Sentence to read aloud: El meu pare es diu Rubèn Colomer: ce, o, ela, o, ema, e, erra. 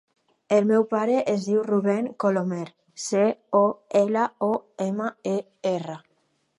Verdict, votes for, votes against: accepted, 4, 0